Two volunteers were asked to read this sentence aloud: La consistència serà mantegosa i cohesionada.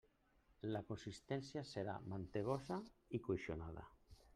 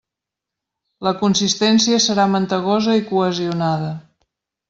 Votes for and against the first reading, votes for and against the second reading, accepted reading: 1, 2, 2, 0, second